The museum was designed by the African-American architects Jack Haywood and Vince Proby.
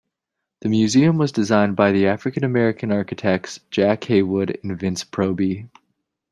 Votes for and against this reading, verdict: 2, 0, accepted